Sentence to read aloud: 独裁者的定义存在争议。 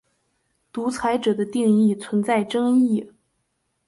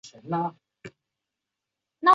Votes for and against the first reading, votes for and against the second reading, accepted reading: 5, 1, 0, 2, first